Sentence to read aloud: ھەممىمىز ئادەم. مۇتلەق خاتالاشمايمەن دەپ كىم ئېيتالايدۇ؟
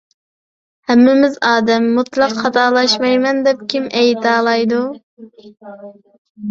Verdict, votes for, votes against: rejected, 0, 2